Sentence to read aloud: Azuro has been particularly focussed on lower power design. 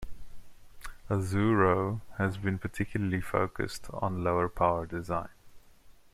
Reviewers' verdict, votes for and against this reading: accepted, 2, 0